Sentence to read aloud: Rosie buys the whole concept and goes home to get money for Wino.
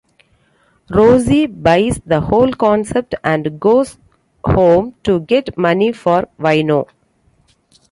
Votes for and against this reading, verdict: 2, 1, accepted